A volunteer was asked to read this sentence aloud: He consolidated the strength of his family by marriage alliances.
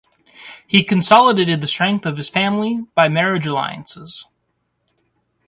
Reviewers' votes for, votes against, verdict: 2, 0, accepted